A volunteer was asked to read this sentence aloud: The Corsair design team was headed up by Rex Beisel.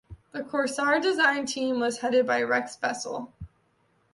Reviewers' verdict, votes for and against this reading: accepted, 2, 1